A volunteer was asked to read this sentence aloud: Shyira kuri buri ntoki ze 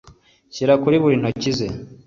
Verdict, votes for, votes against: accepted, 2, 0